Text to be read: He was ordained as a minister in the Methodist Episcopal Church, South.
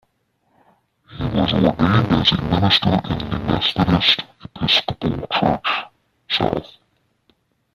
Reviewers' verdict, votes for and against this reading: rejected, 0, 2